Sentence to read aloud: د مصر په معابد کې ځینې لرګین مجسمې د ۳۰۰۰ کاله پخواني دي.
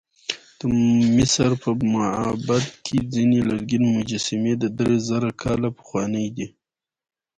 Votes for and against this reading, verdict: 0, 2, rejected